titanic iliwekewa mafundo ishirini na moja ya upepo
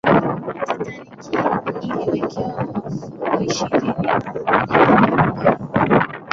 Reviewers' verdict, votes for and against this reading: rejected, 0, 2